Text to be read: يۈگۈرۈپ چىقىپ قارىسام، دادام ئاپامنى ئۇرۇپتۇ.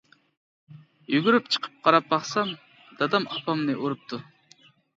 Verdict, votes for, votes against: rejected, 0, 2